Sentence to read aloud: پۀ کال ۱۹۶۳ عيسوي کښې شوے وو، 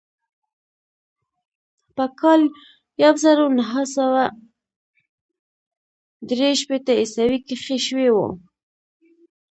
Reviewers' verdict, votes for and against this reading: rejected, 0, 2